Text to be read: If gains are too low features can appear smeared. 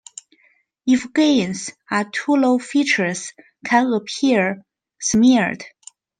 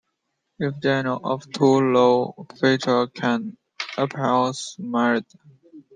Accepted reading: first